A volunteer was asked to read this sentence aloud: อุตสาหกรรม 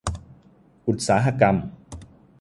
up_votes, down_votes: 5, 0